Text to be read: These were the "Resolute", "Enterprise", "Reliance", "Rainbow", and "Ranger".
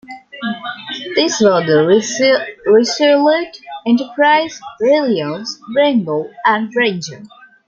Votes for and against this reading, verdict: 1, 2, rejected